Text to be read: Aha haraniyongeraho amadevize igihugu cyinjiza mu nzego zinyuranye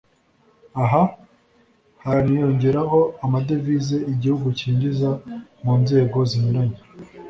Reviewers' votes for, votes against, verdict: 1, 2, rejected